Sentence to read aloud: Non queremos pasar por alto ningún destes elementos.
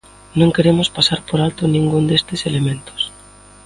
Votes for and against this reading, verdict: 2, 1, accepted